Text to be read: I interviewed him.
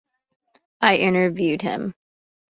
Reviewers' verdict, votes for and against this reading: accepted, 2, 0